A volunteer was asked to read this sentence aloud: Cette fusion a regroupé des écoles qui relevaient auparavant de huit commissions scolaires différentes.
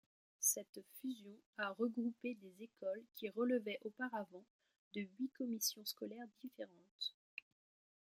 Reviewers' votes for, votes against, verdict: 1, 2, rejected